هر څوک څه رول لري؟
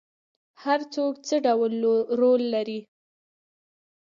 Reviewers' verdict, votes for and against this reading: rejected, 1, 2